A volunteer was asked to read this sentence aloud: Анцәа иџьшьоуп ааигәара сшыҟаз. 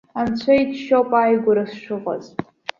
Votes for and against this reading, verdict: 2, 0, accepted